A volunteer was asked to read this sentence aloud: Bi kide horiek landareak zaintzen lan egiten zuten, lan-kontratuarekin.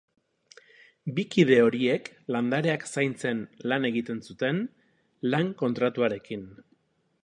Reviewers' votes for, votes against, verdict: 2, 0, accepted